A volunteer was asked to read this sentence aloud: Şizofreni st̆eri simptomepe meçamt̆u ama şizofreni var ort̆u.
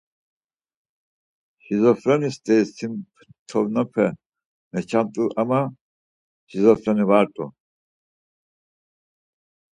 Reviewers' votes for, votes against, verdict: 2, 4, rejected